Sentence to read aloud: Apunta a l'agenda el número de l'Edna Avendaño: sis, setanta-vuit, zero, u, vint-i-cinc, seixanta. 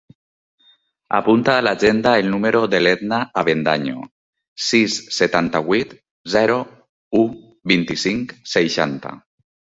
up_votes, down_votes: 4, 0